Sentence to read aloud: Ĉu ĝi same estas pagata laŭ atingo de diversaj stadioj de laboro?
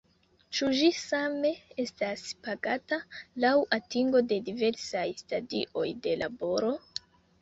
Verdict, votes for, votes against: rejected, 0, 2